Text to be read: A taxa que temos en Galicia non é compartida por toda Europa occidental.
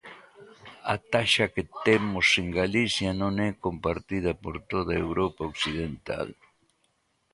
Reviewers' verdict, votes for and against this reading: accepted, 2, 0